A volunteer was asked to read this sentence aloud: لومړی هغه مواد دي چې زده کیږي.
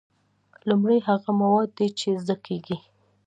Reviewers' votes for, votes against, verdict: 2, 0, accepted